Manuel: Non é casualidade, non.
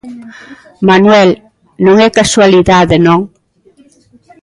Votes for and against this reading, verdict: 1, 2, rejected